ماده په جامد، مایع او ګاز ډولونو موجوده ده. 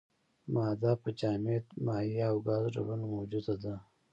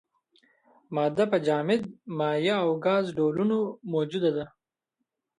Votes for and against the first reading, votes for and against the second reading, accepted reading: 2, 1, 1, 2, first